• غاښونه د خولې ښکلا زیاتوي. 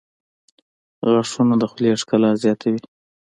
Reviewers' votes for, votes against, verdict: 2, 1, accepted